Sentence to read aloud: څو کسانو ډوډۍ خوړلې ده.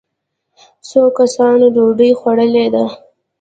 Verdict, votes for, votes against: rejected, 0, 2